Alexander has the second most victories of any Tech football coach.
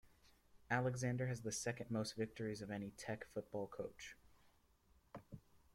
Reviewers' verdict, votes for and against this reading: accepted, 2, 0